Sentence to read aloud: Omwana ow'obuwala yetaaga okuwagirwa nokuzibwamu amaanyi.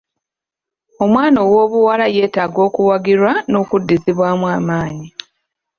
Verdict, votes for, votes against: rejected, 1, 2